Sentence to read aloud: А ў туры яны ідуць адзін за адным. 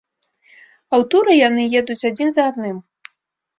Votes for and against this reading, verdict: 1, 2, rejected